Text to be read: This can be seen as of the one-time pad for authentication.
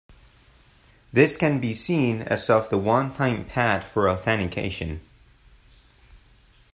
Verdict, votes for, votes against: rejected, 1, 2